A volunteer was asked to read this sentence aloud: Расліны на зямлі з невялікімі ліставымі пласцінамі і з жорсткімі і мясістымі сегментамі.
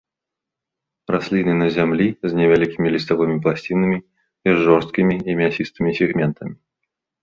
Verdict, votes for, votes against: rejected, 0, 2